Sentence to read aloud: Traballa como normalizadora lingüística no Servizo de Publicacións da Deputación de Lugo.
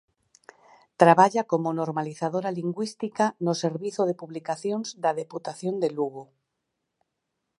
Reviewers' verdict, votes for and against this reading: accepted, 6, 0